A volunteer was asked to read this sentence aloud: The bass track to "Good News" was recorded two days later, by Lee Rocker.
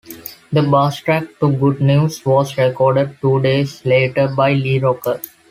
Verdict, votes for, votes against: rejected, 1, 2